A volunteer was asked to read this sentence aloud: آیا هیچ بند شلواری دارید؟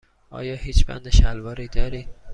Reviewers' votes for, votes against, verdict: 2, 0, accepted